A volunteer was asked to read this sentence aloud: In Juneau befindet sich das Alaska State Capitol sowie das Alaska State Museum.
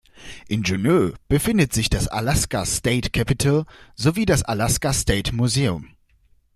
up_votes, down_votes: 2, 0